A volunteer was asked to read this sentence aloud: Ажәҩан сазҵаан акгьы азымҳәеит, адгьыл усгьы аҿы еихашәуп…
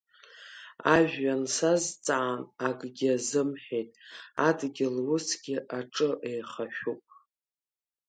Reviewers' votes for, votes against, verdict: 2, 0, accepted